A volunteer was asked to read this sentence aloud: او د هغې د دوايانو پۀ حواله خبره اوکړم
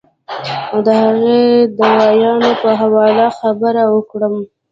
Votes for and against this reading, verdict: 1, 2, rejected